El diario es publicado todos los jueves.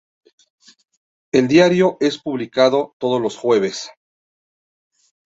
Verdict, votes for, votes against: accepted, 2, 0